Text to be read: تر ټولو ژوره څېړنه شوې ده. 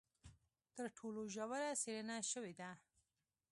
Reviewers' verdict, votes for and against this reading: rejected, 1, 2